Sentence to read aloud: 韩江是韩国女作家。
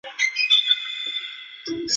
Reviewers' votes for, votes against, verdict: 1, 2, rejected